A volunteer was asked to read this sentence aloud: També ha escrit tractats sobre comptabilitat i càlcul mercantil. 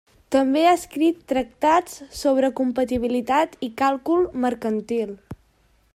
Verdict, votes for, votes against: rejected, 0, 2